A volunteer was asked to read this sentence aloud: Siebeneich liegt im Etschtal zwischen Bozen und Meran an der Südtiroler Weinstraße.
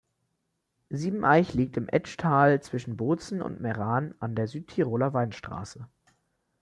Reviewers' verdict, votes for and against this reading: accepted, 2, 0